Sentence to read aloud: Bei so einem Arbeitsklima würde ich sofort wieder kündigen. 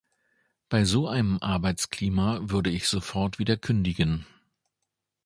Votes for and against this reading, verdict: 2, 0, accepted